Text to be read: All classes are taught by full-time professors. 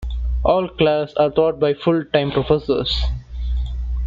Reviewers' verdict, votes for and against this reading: accepted, 2, 0